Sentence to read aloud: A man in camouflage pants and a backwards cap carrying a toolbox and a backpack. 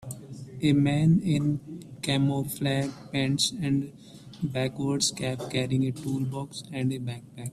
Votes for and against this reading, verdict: 1, 2, rejected